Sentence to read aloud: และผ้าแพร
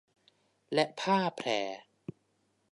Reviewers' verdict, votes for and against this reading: accepted, 2, 0